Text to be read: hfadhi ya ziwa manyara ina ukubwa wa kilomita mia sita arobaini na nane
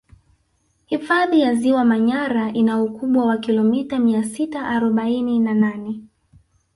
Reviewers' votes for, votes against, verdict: 1, 2, rejected